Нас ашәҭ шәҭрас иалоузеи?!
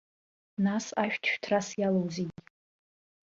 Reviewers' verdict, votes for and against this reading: rejected, 1, 2